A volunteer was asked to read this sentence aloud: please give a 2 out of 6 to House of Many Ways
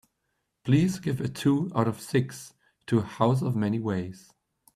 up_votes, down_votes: 0, 2